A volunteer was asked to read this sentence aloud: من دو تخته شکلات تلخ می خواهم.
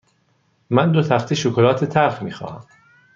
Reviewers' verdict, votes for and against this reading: accepted, 2, 0